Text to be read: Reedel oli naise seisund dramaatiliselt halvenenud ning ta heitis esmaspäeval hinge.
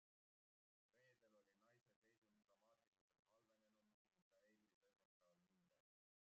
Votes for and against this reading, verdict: 0, 2, rejected